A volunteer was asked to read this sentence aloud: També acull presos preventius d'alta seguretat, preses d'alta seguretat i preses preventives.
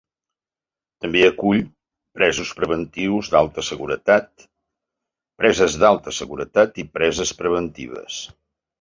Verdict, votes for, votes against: accepted, 2, 0